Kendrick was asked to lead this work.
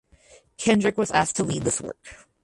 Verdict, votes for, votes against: rejected, 2, 4